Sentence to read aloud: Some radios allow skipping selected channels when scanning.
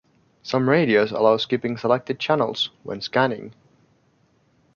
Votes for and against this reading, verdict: 2, 0, accepted